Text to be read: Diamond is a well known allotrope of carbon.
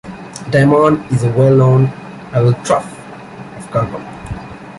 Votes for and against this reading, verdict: 0, 2, rejected